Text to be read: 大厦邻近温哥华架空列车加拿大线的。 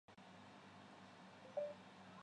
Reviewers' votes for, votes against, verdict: 0, 2, rejected